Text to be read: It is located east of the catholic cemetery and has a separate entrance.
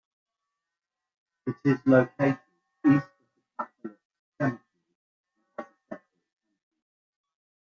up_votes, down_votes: 0, 2